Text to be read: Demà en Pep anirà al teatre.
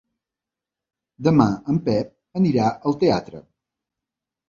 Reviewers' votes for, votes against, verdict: 3, 0, accepted